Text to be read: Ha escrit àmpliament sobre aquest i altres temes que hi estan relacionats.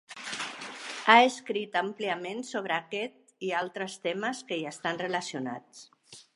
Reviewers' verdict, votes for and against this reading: accepted, 4, 0